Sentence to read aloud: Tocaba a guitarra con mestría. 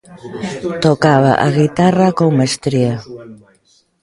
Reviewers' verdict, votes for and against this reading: accepted, 2, 0